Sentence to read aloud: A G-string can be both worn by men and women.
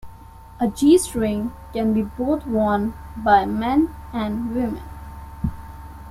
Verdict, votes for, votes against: accepted, 2, 0